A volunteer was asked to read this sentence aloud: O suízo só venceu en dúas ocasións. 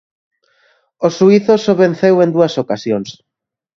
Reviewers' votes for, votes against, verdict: 2, 0, accepted